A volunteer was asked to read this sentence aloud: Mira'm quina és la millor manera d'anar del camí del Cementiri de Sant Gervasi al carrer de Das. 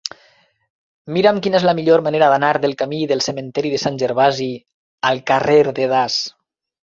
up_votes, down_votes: 0, 2